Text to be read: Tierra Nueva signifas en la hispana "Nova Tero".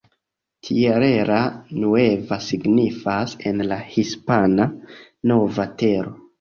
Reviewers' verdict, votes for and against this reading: rejected, 1, 2